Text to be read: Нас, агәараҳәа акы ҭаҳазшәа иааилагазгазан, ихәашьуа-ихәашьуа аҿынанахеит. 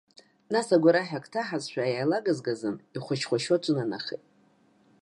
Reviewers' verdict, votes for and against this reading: accepted, 2, 0